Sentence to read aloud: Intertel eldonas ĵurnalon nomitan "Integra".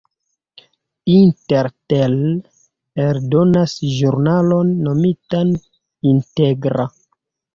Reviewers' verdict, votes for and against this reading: accepted, 2, 0